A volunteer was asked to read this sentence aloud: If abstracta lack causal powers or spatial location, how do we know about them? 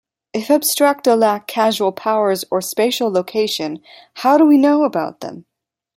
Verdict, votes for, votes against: rejected, 1, 2